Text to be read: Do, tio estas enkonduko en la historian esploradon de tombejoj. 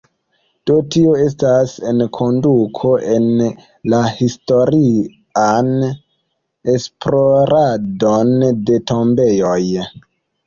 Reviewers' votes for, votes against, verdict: 1, 3, rejected